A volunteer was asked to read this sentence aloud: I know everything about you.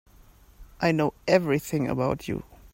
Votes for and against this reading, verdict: 4, 0, accepted